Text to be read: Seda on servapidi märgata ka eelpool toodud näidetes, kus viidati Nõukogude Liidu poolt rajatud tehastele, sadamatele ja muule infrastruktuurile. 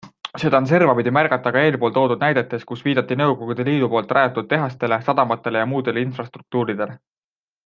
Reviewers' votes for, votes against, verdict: 2, 0, accepted